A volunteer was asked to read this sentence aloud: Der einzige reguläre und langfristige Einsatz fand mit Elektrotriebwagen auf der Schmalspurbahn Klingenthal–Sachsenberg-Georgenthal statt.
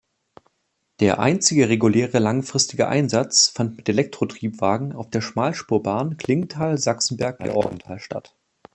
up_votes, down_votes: 3, 2